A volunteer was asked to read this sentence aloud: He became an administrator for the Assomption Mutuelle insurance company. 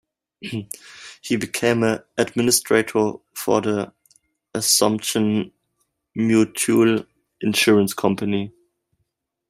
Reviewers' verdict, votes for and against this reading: rejected, 1, 2